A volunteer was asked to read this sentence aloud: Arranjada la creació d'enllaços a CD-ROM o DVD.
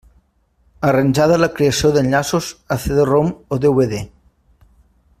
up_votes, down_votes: 1, 2